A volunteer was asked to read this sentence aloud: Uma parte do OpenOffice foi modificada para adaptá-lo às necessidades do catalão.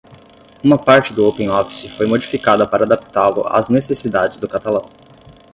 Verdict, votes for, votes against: accepted, 5, 0